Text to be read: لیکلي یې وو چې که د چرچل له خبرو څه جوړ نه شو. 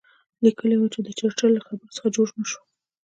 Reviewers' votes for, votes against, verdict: 2, 1, accepted